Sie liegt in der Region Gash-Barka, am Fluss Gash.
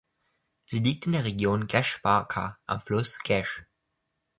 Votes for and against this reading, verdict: 2, 0, accepted